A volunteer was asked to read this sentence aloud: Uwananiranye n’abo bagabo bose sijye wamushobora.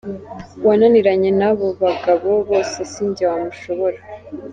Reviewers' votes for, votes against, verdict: 3, 0, accepted